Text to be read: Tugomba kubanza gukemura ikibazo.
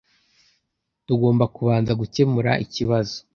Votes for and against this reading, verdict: 2, 0, accepted